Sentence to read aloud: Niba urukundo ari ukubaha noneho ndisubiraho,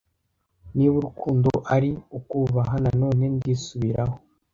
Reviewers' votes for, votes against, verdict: 1, 2, rejected